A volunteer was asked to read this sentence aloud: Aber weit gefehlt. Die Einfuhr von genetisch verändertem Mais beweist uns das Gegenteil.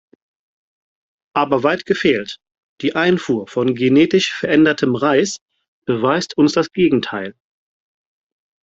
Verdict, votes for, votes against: rejected, 0, 4